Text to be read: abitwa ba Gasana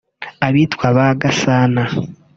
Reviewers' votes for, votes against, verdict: 2, 0, accepted